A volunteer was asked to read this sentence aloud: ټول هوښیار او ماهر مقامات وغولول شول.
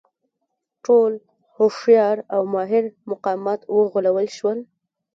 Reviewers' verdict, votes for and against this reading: rejected, 1, 2